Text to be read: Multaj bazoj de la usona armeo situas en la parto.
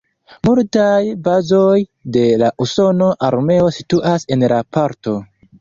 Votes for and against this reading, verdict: 1, 2, rejected